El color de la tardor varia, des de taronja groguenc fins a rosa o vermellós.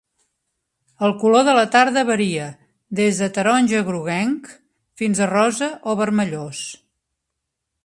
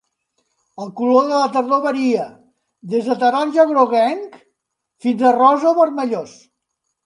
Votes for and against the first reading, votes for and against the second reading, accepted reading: 1, 2, 2, 0, second